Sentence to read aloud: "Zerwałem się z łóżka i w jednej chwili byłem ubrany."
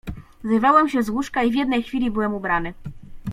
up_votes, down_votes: 1, 2